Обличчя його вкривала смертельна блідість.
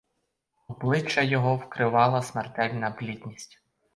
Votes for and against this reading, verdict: 0, 4, rejected